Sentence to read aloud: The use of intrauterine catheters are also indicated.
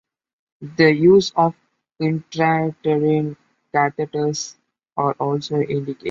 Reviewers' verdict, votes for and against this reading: rejected, 0, 2